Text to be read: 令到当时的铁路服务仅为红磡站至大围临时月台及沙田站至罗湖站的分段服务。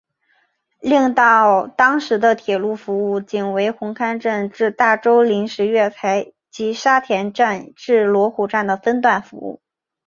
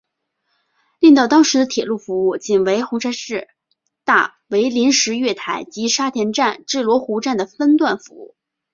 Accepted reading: first